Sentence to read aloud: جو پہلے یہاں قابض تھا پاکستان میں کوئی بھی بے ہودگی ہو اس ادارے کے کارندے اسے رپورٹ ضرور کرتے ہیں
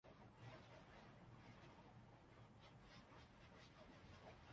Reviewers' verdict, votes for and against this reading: rejected, 0, 3